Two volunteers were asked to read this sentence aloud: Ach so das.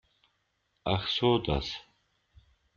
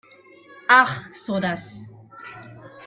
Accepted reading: first